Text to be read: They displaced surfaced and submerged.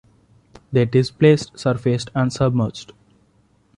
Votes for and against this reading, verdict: 2, 0, accepted